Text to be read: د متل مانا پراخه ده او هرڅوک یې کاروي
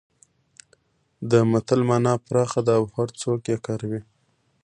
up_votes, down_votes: 2, 0